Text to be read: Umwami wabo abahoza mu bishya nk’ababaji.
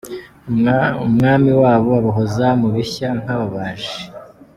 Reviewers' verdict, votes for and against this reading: accepted, 2, 1